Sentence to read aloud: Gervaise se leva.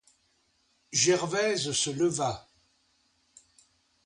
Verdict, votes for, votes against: accepted, 2, 0